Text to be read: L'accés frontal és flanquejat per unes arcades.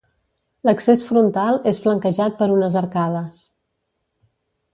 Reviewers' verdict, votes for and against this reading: accepted, 2, 0